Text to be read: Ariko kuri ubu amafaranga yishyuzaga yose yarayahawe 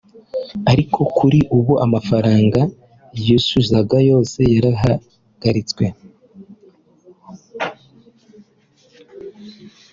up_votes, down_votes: 0, 2